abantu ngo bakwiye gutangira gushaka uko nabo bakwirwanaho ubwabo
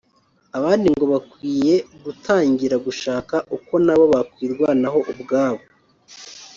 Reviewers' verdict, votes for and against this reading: rejected, 1, 2